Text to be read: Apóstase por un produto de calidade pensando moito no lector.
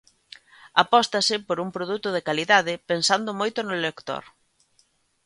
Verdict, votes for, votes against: accepted, 2, 0